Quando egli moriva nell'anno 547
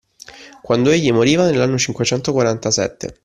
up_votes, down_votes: 0, 2